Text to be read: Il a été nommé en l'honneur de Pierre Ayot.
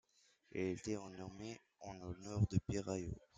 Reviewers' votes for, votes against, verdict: 0, 2, rejected